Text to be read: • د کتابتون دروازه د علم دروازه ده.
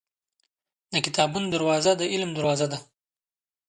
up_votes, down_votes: 1, 2